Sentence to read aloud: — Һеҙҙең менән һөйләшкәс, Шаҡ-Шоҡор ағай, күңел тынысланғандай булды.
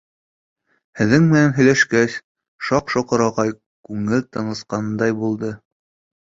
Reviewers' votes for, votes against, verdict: 0, 2, rejected